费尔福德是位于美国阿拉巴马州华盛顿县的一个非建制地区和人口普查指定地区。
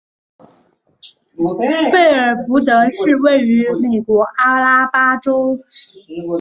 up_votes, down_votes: 5, 2